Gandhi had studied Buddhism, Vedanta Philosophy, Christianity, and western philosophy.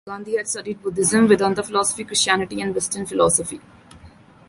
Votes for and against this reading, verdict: 2, 0, accepted